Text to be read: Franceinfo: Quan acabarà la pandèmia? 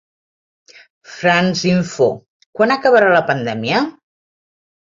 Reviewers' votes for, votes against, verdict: 2, 0, accepted